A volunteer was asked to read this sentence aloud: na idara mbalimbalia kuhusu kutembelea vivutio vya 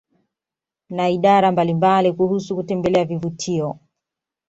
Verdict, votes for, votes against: accepted, 2, 0